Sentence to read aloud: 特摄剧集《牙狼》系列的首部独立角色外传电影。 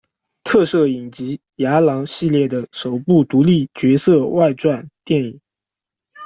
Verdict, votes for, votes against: rejected, 0, 3